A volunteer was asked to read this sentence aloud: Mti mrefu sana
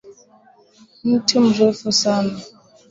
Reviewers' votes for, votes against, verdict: 1, 2, rejected